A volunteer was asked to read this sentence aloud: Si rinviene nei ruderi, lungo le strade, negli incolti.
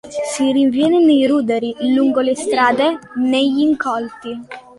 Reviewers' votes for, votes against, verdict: 2, 0, accepted